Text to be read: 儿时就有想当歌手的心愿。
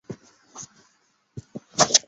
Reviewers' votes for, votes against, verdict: 1, 2, rejected